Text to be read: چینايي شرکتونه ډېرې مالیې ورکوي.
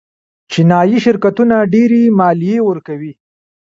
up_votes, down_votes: 3, 1